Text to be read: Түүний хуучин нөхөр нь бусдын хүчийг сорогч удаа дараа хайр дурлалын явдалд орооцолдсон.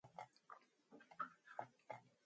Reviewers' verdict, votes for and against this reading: rejected, 2, 2